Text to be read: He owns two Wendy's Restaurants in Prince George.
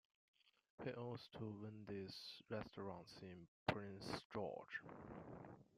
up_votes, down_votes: 1, 2